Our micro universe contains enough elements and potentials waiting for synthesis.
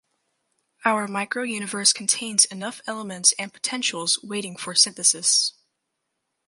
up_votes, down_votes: 4, 0